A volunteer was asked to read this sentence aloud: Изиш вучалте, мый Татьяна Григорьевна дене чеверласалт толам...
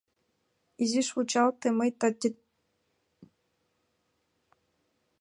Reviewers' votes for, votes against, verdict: 0, 2, rejected